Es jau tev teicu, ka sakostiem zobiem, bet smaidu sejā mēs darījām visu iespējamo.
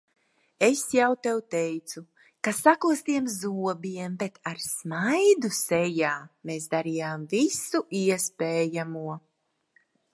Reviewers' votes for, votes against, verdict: 0, 2, rejected